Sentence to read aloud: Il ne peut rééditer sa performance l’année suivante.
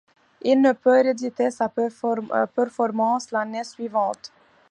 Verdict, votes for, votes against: rejected, 1, 2